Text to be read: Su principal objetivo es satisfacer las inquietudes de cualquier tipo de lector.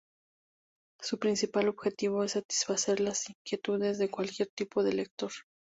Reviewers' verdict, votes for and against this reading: accepted, 2, 0